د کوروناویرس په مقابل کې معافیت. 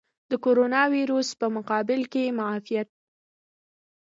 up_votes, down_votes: 1, 2